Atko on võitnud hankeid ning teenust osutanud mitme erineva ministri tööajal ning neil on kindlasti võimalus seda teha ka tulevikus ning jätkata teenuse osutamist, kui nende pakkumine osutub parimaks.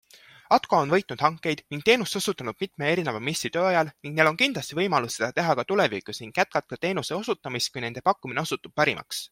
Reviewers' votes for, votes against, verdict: 0, 2, rejected